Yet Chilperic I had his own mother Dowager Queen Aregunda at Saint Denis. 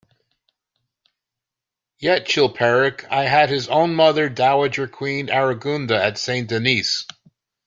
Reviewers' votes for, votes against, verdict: 1, 2, rejected